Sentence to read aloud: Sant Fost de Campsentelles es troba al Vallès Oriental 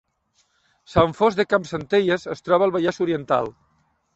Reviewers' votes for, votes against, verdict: 2, 0, accepted